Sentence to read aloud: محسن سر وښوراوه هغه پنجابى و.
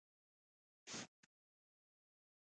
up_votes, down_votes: 2, 1